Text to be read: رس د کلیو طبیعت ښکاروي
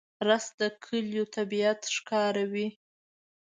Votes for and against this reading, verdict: 2, 0, accepted